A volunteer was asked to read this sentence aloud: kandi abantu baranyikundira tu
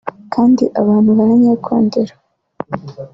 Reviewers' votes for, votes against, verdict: 1, 2, rejected